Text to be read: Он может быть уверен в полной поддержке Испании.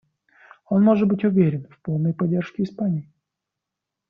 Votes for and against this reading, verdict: 1, 2, rejected